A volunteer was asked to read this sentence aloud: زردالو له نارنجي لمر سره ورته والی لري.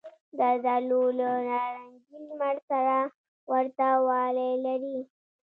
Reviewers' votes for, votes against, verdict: 1, 2, rejected